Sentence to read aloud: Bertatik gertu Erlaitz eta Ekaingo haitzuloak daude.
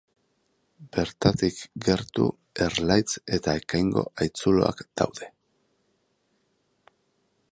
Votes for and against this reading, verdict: 2, 0, accepted